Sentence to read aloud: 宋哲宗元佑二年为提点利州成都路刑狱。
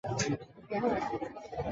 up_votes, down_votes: 1, 2